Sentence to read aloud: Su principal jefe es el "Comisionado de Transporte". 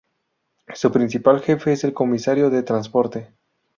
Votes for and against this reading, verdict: 2, 0, accepted